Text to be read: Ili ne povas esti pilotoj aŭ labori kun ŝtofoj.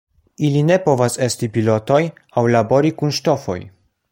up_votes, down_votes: 2, 0